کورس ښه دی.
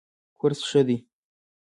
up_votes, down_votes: 1, 2